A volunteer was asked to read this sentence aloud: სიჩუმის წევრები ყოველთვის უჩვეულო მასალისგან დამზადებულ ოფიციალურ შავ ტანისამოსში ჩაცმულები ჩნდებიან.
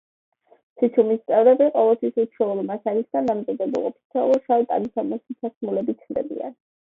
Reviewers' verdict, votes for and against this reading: rejected, 1, 2